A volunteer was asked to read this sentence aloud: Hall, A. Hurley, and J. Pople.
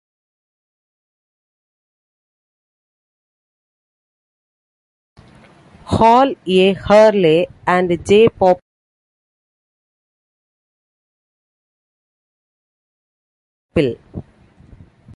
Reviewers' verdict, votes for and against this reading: accepted, 2, 0